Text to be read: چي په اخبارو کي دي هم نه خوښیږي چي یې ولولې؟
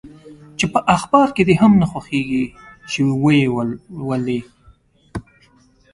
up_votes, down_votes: 0, 2